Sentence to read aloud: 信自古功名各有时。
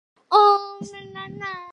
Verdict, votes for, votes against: rejected, 0, 2